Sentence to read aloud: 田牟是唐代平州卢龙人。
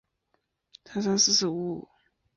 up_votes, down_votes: 0, 5